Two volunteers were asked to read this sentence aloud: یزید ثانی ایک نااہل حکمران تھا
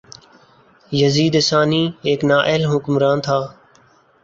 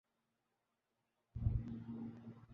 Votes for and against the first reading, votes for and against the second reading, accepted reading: 3, 0, 0, 4, first